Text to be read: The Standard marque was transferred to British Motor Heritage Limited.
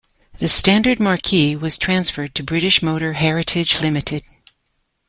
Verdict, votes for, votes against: rejected, 0, 2